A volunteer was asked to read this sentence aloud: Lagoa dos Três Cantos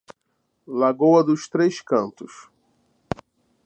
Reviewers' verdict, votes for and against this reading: accepted, 2, 0